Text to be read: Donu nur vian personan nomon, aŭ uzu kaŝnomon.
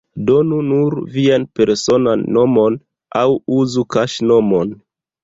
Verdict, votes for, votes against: accepted, 2, 0